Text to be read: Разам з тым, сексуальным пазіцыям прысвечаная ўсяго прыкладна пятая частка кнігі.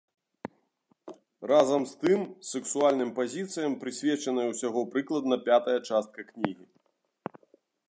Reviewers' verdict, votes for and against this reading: accepted, 2, 0